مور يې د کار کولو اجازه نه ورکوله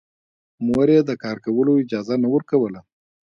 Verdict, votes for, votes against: accepted, 2, 0